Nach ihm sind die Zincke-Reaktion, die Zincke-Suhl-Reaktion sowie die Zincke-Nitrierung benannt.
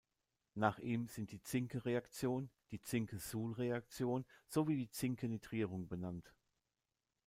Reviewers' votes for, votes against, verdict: 2, 0, accepted